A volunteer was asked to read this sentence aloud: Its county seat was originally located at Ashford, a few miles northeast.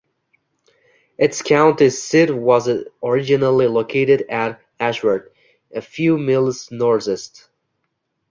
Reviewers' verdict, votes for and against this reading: rejected, 0, 2